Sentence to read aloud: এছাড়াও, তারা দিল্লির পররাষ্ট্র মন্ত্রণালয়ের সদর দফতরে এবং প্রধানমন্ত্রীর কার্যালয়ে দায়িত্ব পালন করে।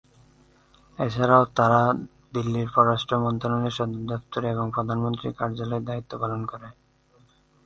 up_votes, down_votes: 2, 3